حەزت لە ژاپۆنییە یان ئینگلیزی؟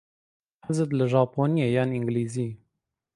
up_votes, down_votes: 2, 0